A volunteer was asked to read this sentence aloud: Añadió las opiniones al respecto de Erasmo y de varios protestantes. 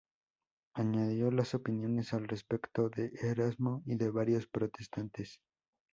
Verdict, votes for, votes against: rejected, 0, 2